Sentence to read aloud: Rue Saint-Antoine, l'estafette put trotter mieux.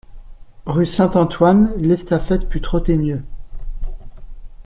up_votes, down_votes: 2, 0